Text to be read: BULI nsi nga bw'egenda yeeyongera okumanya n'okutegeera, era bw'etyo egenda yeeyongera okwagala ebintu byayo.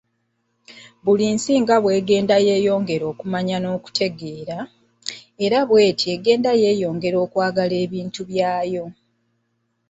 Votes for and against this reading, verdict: 0, 2, rejected